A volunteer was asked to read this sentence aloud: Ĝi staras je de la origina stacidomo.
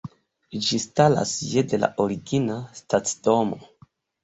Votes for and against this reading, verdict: 2, 1, accepted